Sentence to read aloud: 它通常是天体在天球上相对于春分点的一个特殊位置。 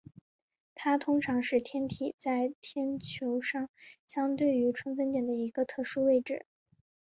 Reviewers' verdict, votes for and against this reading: accepted, 2, 0